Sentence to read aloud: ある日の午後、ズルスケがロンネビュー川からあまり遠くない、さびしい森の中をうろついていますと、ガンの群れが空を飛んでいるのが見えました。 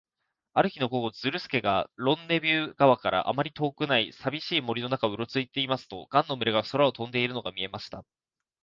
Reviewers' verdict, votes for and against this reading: accepted, 2, 0